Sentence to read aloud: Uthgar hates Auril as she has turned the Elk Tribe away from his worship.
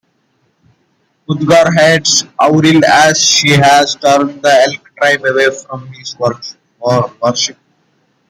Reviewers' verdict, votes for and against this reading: rejected, 0, 2